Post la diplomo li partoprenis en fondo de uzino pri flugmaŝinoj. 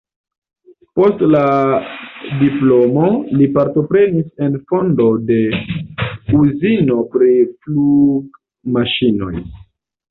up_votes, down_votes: 0, 2